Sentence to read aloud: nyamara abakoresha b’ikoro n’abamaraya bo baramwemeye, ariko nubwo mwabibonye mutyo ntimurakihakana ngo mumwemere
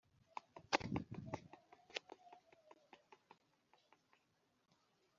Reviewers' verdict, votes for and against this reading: rejected, 0, 2